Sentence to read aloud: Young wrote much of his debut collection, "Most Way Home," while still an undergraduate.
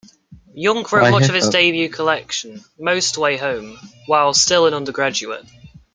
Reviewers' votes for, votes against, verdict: 1, 2, rejected